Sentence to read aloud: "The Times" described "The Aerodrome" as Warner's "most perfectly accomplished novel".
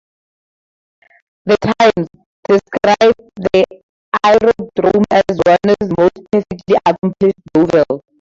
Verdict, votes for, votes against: rejected, 0, 4